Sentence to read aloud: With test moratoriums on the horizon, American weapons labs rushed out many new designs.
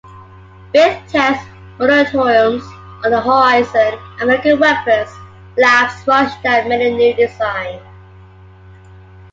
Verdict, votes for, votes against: accepted, 2, 1